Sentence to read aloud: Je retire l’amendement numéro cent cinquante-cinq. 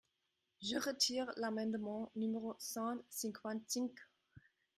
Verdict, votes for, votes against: rejected, 0, 2